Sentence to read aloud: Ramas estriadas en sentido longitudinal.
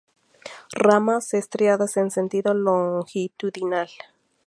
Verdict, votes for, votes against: accepted, 2, 0